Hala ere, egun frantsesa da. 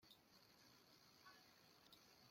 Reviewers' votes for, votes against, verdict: 0, 2, rejected